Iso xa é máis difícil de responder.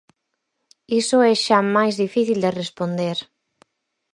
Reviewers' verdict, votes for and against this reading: rejected, 0, 4